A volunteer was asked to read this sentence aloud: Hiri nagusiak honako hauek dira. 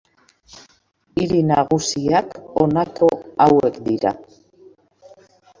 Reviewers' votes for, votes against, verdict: 1, 2, rejected